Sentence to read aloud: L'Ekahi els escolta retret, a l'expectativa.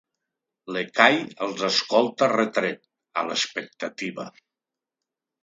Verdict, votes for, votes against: accepted, 2, 0